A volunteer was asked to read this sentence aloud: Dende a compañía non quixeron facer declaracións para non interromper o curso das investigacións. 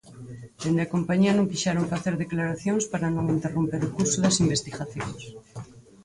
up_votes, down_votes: 4, 0